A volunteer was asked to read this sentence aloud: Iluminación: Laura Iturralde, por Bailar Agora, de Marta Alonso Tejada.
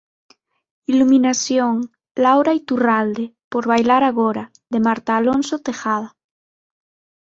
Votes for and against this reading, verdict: 6, 0, accepted